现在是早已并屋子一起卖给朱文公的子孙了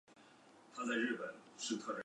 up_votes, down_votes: 2, 3